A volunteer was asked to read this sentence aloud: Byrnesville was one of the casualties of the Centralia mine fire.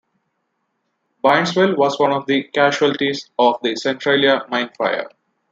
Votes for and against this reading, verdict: 1, 2, rejected